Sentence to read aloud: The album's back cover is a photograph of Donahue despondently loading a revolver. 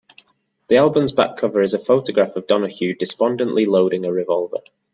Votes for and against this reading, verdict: 2, 0, accepted